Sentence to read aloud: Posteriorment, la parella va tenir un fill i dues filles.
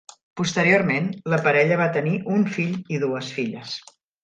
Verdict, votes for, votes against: accepted, 3, 0